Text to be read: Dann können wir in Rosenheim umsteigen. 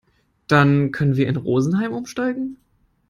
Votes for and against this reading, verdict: 0, 2, rejected